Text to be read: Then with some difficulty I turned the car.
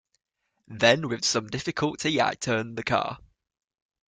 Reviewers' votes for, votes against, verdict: 2, 0, accepted